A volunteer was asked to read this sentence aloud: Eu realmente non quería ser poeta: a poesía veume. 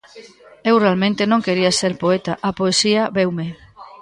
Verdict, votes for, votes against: accepted, 2, 0